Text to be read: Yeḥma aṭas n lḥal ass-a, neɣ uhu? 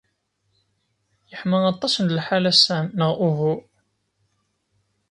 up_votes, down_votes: 2, 0